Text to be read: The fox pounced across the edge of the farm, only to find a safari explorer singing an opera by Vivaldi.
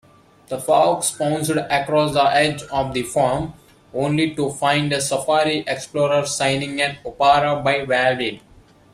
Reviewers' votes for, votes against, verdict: 0, 2, rejected